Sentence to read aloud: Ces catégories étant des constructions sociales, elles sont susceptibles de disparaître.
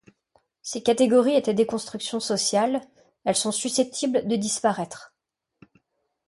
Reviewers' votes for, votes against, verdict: 1, 2, rejected